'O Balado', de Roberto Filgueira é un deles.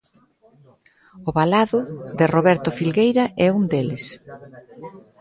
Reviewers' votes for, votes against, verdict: 1, 2, rejected